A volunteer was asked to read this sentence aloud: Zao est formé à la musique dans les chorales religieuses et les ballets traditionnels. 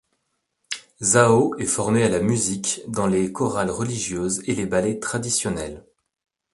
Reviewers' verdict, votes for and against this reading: accepted, 2, 0